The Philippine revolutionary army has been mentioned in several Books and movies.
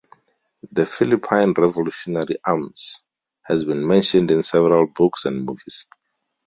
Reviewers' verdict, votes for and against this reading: rejected, 0, 2